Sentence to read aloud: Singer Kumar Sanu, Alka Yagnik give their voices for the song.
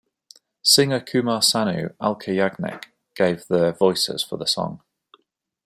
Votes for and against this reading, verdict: 1, 2, rejected